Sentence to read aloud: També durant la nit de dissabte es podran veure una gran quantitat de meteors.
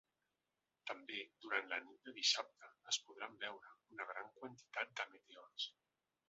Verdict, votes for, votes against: rejected, 0, 2